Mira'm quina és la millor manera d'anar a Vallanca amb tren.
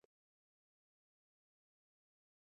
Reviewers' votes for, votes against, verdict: 1, 3, rejected